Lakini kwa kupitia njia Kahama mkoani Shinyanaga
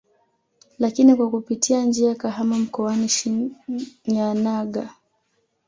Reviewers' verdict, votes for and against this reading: rejected, 0, 2